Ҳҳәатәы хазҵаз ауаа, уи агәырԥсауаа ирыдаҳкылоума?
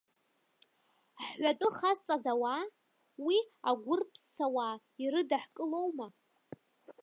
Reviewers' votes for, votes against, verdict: 3, 0, accepted